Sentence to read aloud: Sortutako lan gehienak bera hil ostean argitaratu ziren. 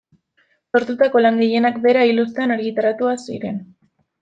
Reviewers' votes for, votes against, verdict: 0, 2, rejected